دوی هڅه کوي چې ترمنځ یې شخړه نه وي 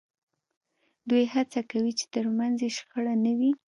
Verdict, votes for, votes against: accepted, 2, 0